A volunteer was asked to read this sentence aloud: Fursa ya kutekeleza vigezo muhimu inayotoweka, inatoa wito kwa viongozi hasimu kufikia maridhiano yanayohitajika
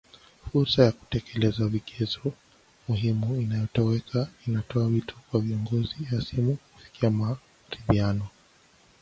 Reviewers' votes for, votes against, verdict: 1, 2, rejected